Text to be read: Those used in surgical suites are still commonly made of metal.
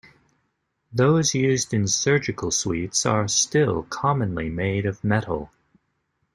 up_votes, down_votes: 2, 0